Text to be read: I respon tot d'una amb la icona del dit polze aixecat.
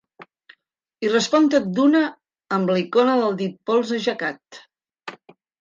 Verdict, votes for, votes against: accepted, 2, 0